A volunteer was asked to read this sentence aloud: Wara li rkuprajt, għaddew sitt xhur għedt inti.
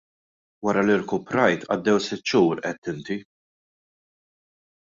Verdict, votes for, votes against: accepted, 2, 0